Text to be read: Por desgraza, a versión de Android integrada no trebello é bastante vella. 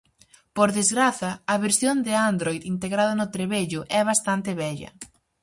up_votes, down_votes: 4, 0